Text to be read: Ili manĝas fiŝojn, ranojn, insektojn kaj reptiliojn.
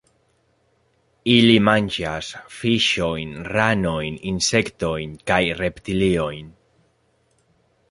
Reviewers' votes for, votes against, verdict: 1, 2, rejected